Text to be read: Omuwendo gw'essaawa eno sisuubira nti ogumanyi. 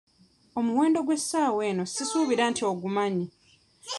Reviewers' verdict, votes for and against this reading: accepted, 2, 0